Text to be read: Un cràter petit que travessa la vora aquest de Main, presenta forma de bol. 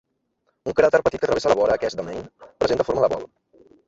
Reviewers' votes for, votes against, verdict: 0, 2, rejected